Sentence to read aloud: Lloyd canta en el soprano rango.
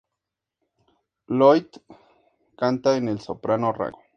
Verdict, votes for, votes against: accepted, 2, 0